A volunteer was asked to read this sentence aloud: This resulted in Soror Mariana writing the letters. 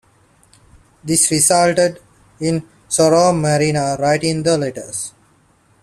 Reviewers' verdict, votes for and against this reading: accepted, 2, 1